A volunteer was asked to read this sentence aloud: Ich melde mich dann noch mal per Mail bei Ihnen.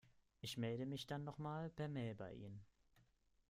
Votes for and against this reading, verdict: 2, 0, accepted